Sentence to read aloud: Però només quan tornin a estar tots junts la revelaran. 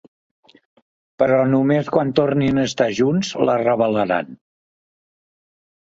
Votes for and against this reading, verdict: 1, 2, rejected